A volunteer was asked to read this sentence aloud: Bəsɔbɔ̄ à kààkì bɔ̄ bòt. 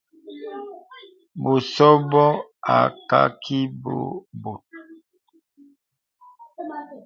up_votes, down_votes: 0, 2